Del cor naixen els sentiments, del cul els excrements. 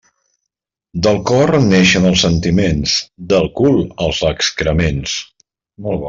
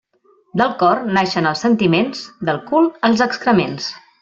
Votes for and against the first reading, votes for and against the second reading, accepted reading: 0, 2, 2, 0, second